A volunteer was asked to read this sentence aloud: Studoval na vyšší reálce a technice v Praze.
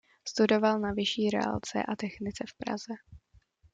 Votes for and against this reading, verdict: 2, 0, accepted